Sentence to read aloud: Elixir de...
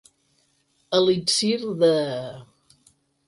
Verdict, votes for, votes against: accepted, 8, 2